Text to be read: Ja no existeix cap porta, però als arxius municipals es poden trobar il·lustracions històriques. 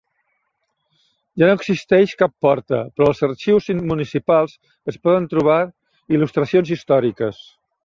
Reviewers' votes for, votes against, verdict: 0, 2, rejected